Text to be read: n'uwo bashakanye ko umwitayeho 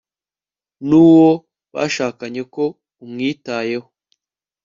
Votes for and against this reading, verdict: 2, 0, accepted